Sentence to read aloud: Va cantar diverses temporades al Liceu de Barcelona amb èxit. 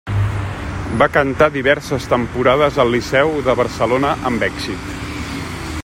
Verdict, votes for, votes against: rejected, 1, 2